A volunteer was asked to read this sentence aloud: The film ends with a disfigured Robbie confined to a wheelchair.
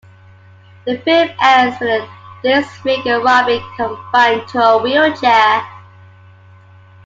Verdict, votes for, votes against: rejected, 1, 2